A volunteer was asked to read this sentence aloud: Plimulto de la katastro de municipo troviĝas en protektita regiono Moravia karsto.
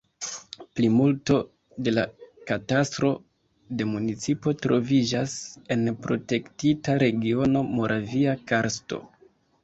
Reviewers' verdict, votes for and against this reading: accepted, 2, 0